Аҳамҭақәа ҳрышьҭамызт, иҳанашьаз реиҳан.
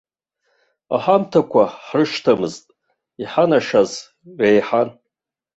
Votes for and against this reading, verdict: 2, 1, accepted